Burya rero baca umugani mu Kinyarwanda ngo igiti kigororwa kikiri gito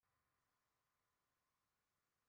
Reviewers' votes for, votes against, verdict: 0, 2, rejected